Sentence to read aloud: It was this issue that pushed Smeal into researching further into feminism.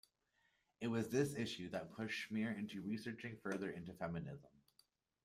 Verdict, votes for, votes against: rejected, 1, 2